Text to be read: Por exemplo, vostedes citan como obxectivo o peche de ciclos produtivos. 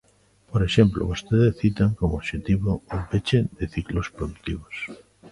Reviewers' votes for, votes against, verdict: 2, 0, accepted